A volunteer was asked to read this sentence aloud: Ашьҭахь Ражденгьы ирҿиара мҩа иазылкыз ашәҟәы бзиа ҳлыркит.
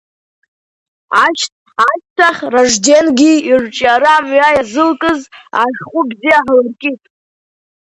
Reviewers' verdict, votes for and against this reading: accepted, 2, 1